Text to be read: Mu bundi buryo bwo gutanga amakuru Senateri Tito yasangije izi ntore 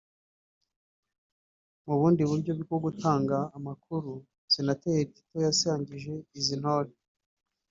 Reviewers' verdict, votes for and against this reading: rejected, 1, 2